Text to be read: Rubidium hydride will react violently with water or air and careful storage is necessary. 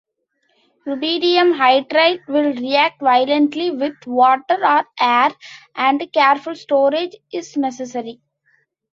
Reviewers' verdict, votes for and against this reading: accepted, 2, 1